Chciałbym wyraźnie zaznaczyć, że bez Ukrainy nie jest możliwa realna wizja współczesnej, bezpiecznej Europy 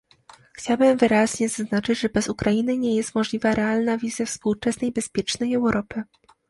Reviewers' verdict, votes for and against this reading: accepted, 2, 0